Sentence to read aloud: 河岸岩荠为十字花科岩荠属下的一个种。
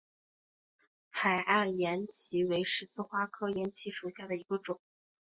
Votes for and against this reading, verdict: 1, 2, rejected